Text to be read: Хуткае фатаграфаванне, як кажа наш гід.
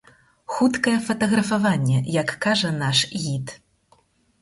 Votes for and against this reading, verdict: 6, 0, accepted